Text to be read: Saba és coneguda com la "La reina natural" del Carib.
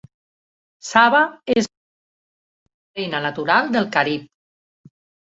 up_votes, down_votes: 0, 2